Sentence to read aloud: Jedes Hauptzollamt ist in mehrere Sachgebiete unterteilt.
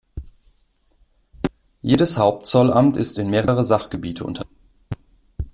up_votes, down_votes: 0, 2